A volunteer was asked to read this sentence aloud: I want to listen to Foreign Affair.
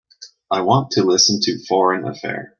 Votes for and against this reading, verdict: 2, 0, accepted